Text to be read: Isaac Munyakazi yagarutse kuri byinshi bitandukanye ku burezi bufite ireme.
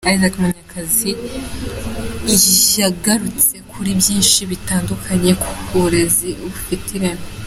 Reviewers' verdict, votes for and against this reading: accepted, 3, 0